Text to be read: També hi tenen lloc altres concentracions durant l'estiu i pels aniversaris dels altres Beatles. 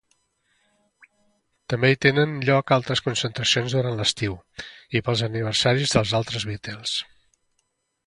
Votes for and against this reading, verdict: 2, 0, accepted